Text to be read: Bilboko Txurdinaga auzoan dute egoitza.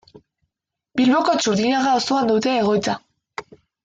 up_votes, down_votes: 0, 2